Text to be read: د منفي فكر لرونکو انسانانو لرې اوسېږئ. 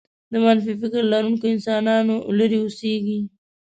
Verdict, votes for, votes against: rejected, 1, 2